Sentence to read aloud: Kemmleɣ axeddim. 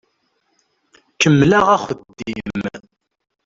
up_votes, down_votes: 1, 2